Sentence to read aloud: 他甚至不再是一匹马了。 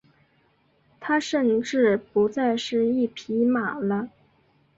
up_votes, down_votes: 2, 0